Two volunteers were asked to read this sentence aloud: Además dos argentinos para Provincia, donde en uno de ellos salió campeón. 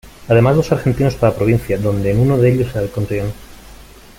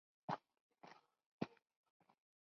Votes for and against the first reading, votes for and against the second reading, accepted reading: 1, 2, 2, 0, second